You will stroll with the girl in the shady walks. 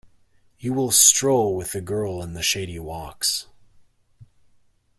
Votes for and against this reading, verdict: 2, 0, accepted